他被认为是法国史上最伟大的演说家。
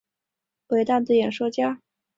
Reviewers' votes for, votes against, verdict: 0, 2, rejected